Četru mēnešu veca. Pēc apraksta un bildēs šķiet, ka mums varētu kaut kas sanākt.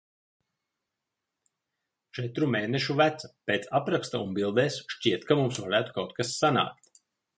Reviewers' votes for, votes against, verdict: 2, 0, accepted